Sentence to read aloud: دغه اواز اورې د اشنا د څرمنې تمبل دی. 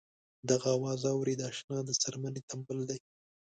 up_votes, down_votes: 2, 0